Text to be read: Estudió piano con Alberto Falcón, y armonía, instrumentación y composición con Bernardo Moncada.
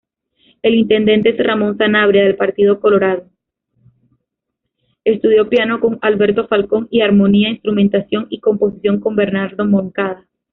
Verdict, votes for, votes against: rejected, 0, 2